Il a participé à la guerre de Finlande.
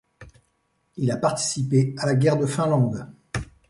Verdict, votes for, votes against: accepted, 2, 0